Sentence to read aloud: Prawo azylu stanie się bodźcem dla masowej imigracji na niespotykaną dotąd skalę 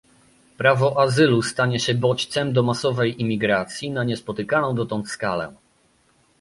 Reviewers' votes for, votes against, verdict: 0, 2, rejected